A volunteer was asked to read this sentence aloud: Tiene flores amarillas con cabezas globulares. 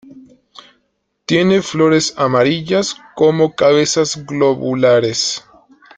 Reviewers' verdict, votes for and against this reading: rejected, 0, 2